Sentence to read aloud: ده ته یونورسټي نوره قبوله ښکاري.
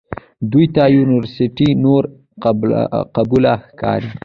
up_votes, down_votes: 2, 0